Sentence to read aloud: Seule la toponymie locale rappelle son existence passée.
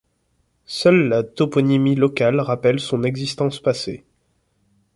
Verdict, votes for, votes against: accepted, 2, 0